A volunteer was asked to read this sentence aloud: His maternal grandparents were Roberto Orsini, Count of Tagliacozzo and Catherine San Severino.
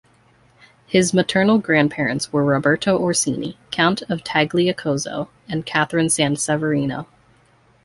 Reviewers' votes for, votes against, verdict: 2, 0, accepted